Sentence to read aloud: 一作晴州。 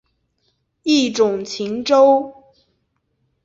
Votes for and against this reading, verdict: 0, 2, rejected